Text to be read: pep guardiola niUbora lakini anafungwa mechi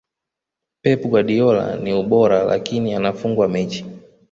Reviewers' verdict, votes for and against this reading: rejected, 0, 2